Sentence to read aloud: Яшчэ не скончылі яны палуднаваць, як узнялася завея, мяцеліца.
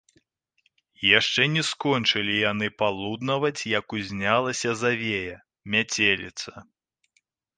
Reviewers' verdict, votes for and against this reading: rejected, 0, 2